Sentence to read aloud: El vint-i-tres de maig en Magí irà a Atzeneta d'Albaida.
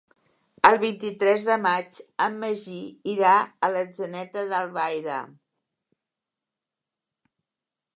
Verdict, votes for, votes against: rejected, 1, 2